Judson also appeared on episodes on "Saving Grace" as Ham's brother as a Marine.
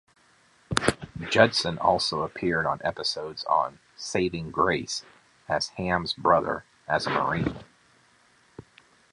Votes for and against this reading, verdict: 2, 0, accepted